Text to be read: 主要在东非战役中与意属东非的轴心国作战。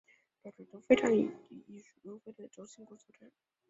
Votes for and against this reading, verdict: 0, 2, rejected